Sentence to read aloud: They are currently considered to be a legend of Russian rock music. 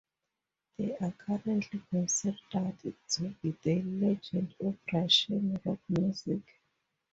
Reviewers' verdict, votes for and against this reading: rejected, 2, 2